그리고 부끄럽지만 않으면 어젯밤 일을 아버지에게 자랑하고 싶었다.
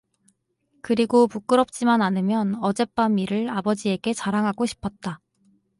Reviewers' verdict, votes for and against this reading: accepted, 4, 0